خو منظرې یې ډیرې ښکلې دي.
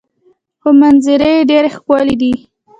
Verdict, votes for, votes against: accepted, 2, 0